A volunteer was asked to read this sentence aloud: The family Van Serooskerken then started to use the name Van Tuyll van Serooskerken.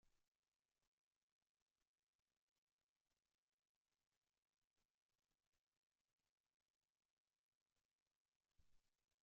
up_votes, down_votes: 1, 2